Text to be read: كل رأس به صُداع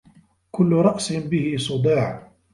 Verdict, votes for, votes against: rejected, 1, 2